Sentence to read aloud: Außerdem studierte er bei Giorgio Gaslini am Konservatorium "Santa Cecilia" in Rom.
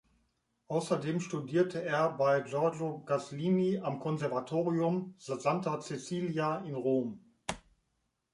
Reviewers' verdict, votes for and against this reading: rejected, 1, 2